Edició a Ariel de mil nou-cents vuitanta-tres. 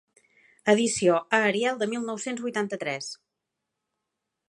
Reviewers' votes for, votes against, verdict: 3, 0, accepted